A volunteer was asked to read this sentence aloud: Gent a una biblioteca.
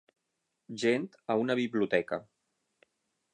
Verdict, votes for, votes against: rejected, 0, 6